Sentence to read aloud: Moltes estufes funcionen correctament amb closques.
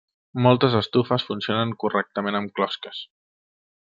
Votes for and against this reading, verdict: 3, 0, accepted